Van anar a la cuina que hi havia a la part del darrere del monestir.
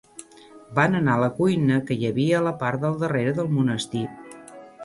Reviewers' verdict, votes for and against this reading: accepted, 3, 0